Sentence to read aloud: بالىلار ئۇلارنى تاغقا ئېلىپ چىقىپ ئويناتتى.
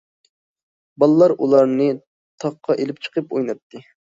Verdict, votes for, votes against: accepted, 2, 0